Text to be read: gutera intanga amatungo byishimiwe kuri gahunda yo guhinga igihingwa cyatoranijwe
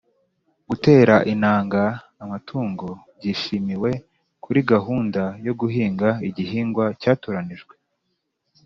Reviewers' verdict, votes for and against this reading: accepted, 2, 0